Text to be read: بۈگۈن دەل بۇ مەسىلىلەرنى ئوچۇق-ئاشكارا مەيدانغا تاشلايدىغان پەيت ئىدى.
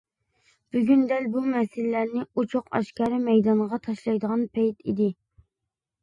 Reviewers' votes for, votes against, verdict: 2, 0, accepted